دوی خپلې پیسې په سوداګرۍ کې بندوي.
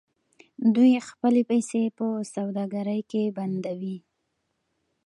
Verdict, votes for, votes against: accepted, 2, 0